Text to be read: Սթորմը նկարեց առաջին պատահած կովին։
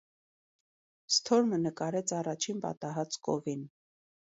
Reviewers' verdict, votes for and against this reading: accepted, 2, 0